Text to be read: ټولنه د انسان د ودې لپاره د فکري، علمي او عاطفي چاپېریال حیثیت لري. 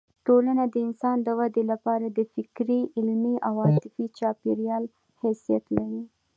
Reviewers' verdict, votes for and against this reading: accepted, 2, 0